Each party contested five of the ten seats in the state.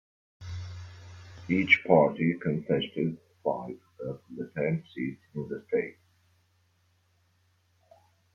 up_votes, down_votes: 1, 2